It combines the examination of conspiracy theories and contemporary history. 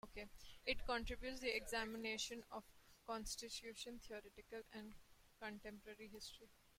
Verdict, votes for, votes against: rejected, 0, 2